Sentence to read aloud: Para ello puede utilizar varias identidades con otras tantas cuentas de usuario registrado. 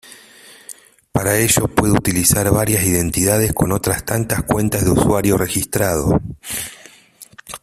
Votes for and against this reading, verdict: 2, 1, accepted